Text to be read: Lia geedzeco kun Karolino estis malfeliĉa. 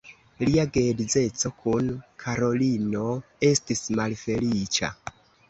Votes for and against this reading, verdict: 1, 2, rejected